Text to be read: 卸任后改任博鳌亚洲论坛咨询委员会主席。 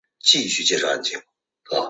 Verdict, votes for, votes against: rejected, 0, 2